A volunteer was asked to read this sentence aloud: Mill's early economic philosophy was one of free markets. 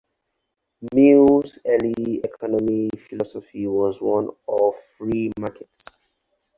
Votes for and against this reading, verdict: 0, 4, rejected